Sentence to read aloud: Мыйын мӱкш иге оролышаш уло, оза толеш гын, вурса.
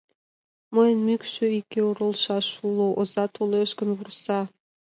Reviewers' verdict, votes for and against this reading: accepted, 2, 0